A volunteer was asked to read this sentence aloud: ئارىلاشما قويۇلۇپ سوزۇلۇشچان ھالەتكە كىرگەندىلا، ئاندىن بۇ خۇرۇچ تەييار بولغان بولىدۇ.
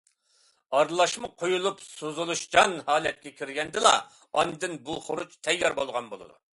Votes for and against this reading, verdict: 2, 0, accepted